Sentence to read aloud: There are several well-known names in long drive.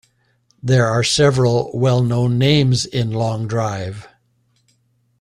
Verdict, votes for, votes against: accepted, 2, 0